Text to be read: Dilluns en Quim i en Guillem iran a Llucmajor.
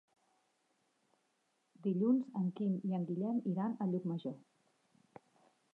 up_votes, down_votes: 1, 2